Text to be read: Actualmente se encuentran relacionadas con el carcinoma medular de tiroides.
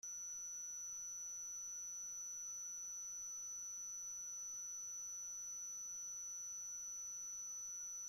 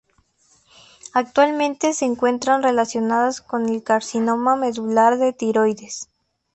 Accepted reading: second